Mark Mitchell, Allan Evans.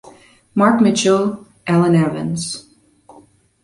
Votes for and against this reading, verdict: 0, 2, rejected